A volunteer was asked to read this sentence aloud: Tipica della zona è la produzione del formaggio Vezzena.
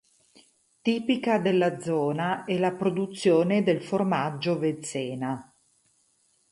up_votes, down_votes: 4, 0